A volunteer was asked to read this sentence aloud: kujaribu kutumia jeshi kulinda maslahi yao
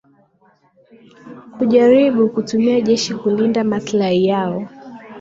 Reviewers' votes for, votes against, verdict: 1, 2, rejected